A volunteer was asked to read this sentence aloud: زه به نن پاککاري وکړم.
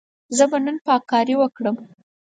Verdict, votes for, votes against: accepted, 4, 0